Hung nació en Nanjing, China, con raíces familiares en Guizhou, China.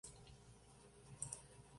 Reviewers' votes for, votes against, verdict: 0, 2, rejected